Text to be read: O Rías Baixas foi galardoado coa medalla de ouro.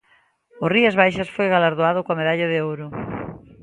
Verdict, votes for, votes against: accepted, 2, 0